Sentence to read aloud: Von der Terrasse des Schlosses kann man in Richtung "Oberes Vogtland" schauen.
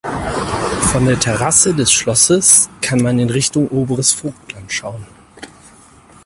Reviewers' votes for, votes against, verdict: 4, 0, accepted